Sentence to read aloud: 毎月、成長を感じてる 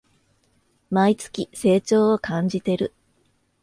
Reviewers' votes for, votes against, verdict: 2, 0, accepted